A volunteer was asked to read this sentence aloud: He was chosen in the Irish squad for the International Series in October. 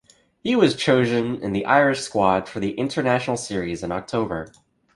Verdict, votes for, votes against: rejected, 1, 2